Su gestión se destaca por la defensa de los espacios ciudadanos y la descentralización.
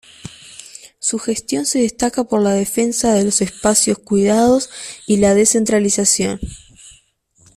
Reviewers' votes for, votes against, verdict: 0, 2, rejected